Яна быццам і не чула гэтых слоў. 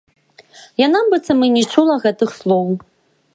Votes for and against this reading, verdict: 0, 2, rejected